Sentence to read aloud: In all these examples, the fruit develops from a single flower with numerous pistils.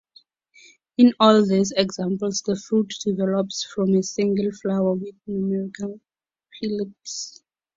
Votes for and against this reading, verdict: 0, 4, rejected